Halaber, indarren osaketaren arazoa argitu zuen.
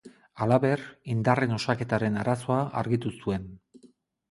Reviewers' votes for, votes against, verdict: 4, 0, accepted